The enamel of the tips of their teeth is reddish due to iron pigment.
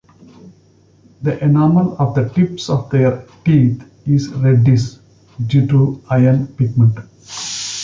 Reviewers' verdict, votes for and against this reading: accepted, 2, 1